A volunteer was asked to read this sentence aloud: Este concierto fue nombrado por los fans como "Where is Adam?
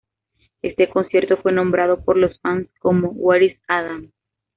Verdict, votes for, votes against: accepted, 2, 0